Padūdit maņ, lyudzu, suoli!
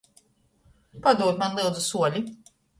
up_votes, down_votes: 1, 2